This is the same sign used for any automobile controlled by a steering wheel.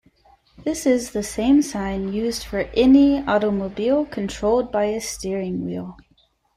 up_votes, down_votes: 2, 0